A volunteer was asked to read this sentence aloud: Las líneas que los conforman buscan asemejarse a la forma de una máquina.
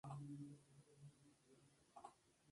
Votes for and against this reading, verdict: 0, 2, rejected